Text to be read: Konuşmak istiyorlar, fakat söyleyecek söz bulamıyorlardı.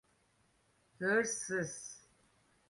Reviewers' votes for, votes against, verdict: 0, 2, rejected